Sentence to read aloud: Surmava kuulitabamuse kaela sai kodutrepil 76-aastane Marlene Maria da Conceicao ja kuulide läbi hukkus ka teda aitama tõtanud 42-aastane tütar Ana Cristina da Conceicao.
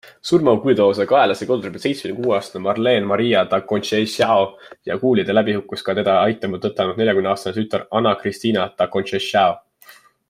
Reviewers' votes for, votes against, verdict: 0, 2, rejected